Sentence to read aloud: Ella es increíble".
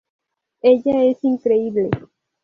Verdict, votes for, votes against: accepted, 2, 0